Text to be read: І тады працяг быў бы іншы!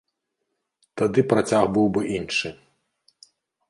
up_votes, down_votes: 1, 2